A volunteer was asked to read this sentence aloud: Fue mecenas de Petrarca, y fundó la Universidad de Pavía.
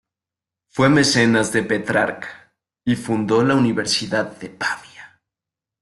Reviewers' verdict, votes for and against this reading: accepted, 2, 0